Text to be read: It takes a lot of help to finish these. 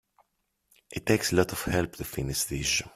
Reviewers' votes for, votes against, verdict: 1, 2, rejected